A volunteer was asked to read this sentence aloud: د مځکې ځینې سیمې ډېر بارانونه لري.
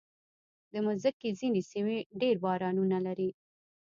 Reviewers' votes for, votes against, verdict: 2, 0, accepted